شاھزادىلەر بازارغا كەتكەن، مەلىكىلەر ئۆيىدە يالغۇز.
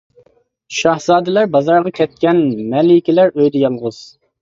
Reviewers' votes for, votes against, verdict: 2, 0, accepted